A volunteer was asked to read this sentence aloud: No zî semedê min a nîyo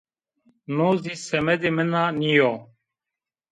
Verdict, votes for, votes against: accepted, 2, 0